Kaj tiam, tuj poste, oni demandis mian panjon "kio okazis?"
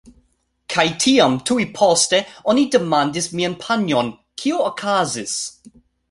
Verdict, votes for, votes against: accepted, 3, 0